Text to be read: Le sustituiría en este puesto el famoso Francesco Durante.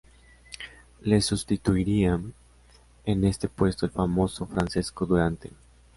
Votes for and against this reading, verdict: 2, 0, accepted